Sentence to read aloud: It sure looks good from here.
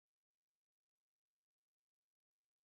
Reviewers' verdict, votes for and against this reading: rejected, 0, 2